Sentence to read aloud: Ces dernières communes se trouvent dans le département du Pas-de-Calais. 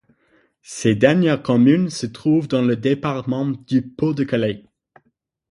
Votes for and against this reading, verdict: 3, 6, rejected